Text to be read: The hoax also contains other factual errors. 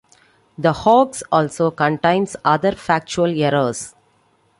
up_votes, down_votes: 2, 0